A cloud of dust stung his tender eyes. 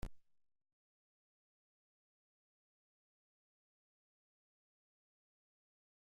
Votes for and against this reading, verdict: 0, 2, rejected